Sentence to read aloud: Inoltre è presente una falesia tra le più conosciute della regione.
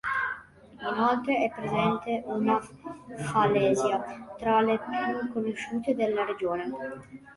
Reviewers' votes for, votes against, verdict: 2, 0, accepted